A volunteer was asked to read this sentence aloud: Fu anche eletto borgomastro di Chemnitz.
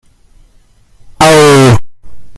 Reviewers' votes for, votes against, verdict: 0, 2, rejected